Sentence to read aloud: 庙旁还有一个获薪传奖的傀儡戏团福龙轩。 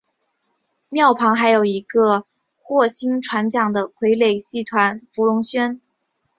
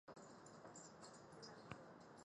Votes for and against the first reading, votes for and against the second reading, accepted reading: 2, 1, 0, 3, first